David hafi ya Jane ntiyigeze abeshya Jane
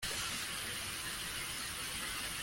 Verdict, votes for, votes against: rejected, 0, 2